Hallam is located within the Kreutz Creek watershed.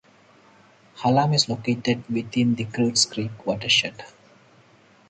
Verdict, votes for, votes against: accepted, 4, 0